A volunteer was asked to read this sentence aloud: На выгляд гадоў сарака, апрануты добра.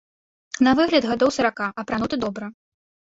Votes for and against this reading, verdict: 1, 2, rejected